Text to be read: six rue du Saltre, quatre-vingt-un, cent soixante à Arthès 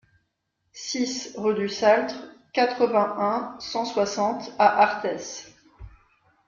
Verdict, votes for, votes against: accepted, 2, 0